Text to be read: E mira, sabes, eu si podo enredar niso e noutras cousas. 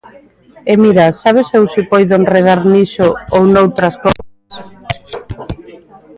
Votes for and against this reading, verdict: 0, 2, rejected